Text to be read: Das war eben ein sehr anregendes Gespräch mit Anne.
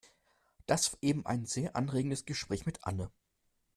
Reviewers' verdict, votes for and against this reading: rejected, 1, 2